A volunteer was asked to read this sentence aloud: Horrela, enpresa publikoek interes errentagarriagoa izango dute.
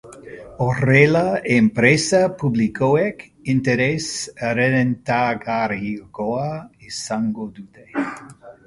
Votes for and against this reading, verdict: 0, 3, rejected